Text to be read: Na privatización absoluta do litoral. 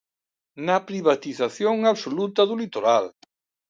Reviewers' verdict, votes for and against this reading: accepted, 2, 0